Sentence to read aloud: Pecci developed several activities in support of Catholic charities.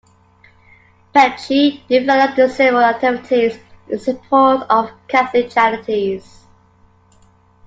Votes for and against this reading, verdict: 2, 1, accepted